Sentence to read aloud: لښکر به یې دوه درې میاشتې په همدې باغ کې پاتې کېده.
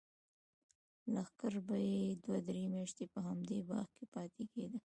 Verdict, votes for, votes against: rejected, 0, 2